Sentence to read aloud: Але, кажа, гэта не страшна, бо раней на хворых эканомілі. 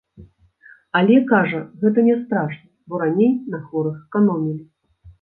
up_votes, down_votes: 1, 2